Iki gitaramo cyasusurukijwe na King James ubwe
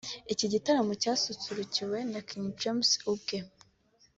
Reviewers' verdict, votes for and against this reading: rejected, 1, 2